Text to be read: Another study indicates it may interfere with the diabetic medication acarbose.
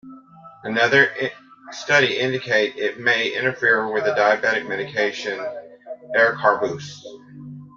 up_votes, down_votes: 0, 2